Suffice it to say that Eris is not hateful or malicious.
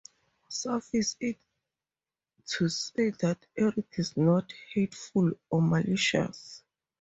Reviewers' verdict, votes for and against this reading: rejected, 2, 2